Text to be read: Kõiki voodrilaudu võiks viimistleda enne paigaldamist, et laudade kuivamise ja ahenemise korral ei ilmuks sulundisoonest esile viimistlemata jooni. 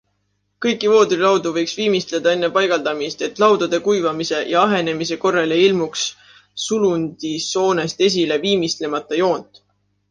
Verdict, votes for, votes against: rejected, 0, 2